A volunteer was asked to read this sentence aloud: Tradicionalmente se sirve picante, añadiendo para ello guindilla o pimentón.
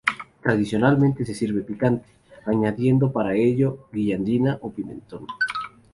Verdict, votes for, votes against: rejected, 0, 2